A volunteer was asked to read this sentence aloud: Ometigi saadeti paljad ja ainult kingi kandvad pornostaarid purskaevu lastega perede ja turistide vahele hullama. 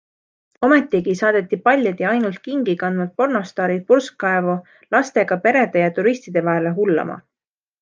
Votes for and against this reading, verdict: 2, 0, accepted